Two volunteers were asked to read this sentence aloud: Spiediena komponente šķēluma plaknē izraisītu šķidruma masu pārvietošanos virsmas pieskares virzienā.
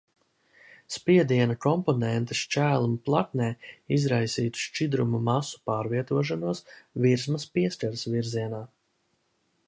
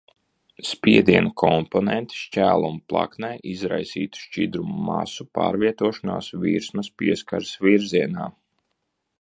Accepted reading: first